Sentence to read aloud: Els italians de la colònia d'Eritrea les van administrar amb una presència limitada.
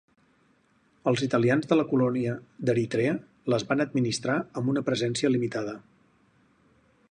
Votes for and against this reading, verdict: 4, 0, accepted